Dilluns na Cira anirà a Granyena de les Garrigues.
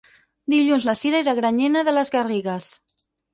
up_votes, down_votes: 0, 4